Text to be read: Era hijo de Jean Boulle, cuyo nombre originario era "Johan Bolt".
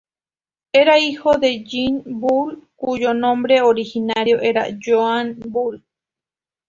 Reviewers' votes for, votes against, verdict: 2, 0, accepted